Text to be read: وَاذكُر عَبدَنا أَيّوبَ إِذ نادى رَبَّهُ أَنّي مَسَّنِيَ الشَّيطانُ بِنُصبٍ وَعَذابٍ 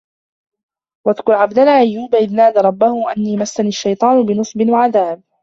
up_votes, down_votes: 1, 2